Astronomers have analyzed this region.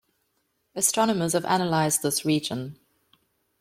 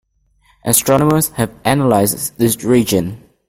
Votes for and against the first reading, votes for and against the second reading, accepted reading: 2, 0, 1, 2, first